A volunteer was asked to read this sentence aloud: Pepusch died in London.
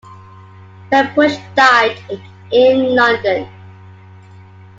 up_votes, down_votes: 2, 0